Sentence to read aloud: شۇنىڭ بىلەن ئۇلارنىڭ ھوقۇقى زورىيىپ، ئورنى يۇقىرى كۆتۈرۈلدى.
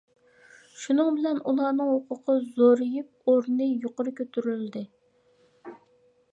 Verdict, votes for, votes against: accepted, 2, 0